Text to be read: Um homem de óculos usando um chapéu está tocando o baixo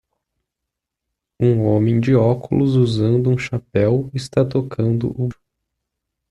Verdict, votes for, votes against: rejected, 0, 2